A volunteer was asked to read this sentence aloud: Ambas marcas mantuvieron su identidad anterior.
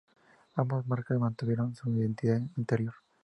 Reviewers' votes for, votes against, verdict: 0, 2, rejected